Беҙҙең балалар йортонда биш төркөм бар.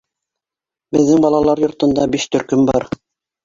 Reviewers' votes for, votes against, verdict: 2, 1, accepted